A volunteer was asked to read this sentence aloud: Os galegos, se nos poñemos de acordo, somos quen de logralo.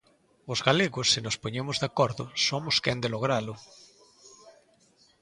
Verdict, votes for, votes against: accepted, 3, 0